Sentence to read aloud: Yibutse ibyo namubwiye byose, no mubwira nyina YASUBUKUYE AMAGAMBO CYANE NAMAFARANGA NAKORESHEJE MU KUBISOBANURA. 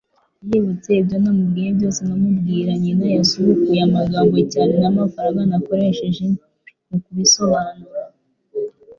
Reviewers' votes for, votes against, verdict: 2, 0, accepted